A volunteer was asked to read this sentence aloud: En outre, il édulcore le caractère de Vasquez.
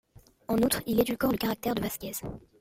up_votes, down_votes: 2, 1